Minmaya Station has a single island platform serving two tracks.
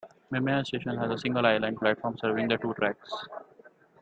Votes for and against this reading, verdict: 0, 2, rejected